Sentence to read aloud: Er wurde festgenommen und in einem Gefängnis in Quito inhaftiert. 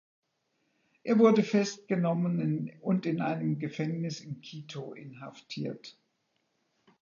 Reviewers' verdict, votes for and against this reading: rejected, 1, 2